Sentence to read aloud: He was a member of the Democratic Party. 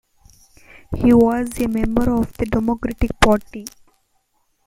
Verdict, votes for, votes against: rejected, 1, 2